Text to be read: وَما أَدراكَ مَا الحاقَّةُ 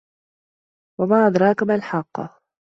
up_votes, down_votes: 2, 0